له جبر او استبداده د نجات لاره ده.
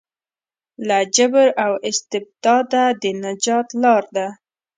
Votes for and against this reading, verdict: 1, 2, rejected